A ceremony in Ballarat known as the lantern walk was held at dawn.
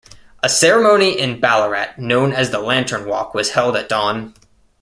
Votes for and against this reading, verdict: 2, 0, accepted